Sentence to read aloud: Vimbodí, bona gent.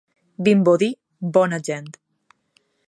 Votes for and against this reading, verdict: 3, 0, accepted